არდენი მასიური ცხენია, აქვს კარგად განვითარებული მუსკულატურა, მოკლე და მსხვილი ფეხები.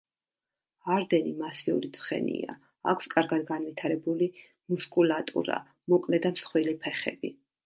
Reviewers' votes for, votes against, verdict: 2, 0, accepted